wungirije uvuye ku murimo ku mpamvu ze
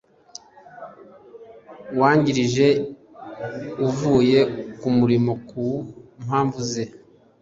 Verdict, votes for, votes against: rejected, 0, 2